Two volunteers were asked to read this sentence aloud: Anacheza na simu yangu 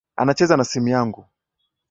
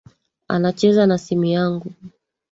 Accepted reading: first